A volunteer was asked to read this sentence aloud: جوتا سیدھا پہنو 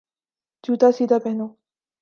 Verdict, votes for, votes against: accepted, 2, 0